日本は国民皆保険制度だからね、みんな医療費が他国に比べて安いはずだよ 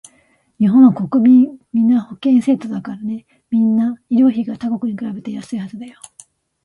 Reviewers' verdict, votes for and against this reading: rejected, 1, 2